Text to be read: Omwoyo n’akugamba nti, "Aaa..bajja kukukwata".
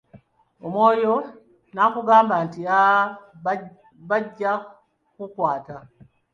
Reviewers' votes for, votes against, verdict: 1, 2, rejected